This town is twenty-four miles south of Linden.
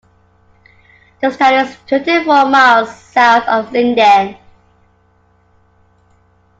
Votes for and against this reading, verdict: 2, 1, accepted